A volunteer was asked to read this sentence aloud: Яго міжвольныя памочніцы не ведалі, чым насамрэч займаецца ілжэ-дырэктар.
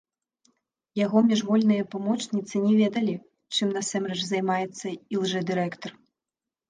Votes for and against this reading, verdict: 1, 2, rejected